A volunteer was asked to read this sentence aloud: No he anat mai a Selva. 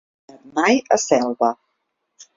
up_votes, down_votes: 0, 2